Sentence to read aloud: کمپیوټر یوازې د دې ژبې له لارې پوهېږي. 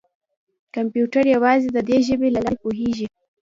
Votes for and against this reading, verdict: 0, 2, rejected